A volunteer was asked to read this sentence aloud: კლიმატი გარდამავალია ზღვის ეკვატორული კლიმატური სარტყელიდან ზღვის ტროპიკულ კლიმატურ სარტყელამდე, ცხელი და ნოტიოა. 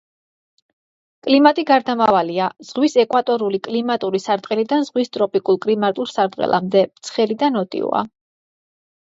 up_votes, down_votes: 2, 0